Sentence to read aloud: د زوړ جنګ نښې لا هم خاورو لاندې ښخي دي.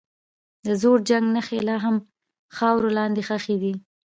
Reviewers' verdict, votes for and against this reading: rejected, 1, 2